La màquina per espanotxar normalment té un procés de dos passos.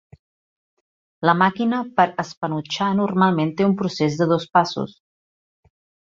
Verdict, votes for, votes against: accepted, 2, 0